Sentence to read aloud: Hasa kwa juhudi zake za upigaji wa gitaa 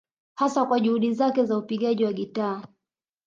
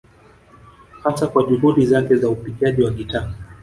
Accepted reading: first